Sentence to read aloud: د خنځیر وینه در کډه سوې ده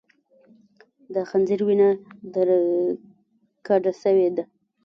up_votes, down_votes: 1, 2